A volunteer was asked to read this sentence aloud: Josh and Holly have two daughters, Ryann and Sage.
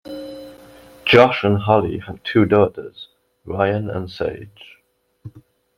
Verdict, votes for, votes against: accepted, 2, 1